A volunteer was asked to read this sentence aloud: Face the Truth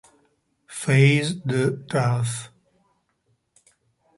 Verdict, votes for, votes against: rejected, 1, 2